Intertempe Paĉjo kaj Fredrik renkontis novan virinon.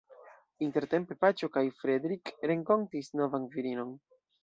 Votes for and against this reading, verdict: 1, 2, rejected